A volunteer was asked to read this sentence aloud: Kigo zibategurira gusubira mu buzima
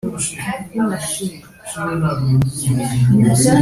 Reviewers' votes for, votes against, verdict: 0, 2, rejected